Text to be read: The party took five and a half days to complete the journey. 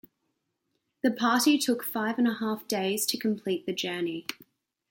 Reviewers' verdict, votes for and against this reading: rejected, 1, 2